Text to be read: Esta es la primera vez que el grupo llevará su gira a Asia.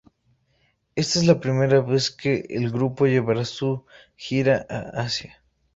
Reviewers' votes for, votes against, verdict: 2, 0, accepted